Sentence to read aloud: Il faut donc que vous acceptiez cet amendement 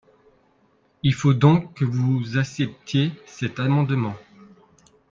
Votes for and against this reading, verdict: 0, 2, rejected